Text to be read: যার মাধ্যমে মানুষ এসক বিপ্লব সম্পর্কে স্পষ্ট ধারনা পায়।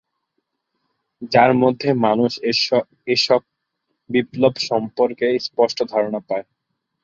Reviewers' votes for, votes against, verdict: 0, 2, rejected